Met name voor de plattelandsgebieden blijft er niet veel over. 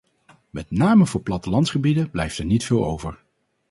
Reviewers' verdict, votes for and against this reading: rejected, 2, 2